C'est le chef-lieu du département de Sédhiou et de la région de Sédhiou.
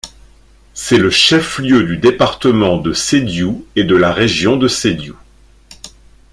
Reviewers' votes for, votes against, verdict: 2, 0, accepted